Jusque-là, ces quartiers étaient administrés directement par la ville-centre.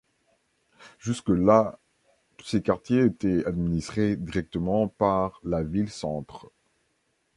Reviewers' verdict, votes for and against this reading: rejected, 1, 2